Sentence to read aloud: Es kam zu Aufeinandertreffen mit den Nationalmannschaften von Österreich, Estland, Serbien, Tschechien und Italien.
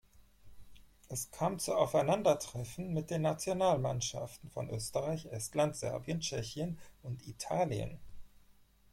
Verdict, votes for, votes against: rejected, 2, 4